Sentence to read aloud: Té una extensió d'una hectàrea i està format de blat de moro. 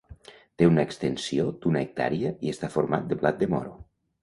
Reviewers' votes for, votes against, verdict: 2, 1, accepted